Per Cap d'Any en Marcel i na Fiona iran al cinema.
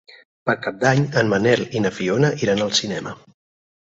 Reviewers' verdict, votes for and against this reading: rejected, 2, 4